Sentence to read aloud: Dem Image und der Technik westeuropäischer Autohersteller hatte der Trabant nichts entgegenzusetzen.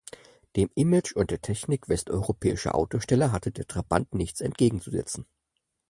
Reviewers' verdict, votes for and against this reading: rejected, 2, 4